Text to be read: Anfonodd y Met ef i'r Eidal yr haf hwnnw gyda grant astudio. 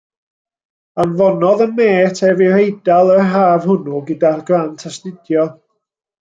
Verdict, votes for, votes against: rejected, 0, 2